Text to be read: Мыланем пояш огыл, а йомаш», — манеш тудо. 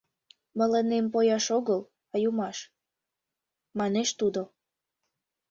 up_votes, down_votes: 2, 0